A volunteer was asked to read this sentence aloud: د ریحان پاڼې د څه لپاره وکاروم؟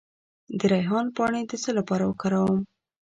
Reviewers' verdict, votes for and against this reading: accepted, 2, 0